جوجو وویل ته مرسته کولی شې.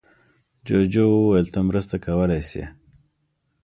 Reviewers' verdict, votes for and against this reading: accepted, 3, 0